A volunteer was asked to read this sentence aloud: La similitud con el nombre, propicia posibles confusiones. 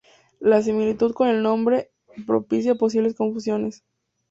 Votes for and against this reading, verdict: 4, 0, accepted